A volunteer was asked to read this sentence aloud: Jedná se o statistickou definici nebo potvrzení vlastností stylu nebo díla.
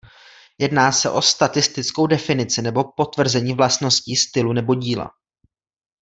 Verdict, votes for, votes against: accepted, 2, 0